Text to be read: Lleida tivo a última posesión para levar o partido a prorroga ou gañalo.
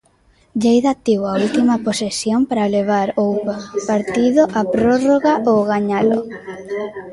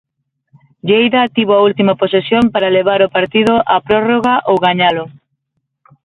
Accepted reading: second